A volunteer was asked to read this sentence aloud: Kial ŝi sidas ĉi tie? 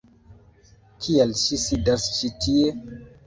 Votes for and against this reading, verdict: 0, 2, rejected